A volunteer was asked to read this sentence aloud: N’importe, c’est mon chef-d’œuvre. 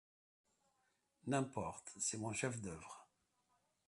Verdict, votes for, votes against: rejected, 0, 2